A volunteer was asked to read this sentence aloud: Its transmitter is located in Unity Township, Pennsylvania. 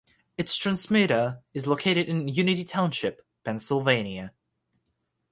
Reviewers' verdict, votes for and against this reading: rejected, 3, 3